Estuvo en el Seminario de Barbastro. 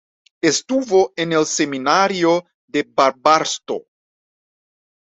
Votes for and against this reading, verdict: 2, 0, accepted